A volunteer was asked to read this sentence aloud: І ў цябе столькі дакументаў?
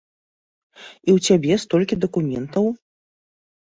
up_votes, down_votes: 2, 0